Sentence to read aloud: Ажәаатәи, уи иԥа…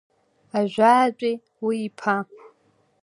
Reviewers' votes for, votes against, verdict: 2, 0, accepted